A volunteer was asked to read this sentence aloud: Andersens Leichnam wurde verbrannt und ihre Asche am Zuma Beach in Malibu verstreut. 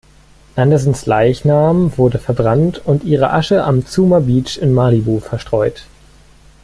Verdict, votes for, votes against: rejected, 1, 2